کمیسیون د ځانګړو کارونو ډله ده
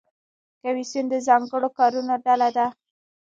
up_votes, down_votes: 1, 2